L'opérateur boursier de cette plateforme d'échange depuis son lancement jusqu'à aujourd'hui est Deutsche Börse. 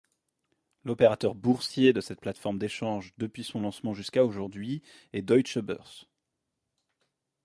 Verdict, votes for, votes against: accepted, 2, 0